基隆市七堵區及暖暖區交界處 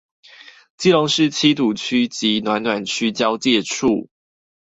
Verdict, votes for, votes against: accepted, 4, 0